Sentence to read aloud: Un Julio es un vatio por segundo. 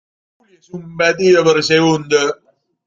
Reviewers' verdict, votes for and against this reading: rejected, 0, 2